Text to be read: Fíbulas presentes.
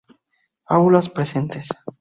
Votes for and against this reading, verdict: 0, 2, rejected